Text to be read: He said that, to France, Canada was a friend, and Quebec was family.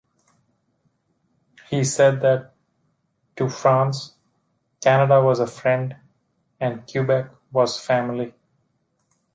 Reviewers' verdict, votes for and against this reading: rejected, 1, 2